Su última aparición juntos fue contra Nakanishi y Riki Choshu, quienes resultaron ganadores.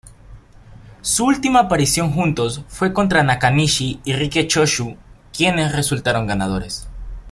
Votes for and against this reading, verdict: 2, 0, accepted